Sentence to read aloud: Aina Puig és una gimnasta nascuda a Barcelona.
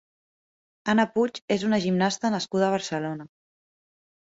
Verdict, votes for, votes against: rejected, 0, 2